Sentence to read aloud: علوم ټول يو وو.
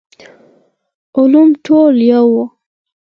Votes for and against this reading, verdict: 4, 0, accepted